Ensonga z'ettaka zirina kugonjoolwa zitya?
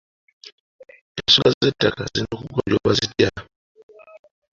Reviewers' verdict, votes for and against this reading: accepted, 2, 1